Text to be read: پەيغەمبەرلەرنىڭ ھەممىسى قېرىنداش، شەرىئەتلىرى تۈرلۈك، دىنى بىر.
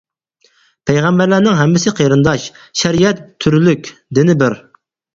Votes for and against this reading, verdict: 0, 4, rejected